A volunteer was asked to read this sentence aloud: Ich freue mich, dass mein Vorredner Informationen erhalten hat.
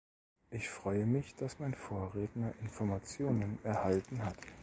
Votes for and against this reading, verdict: 2, 0, accepted